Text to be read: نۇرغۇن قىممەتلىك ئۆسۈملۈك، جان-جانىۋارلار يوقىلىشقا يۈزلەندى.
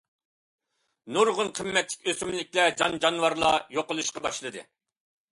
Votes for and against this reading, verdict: 0, 2, rejected